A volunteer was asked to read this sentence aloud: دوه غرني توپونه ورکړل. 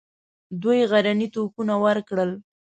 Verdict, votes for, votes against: accepted, 2, 0